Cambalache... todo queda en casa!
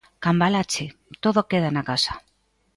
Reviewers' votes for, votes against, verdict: 1, 2, rejected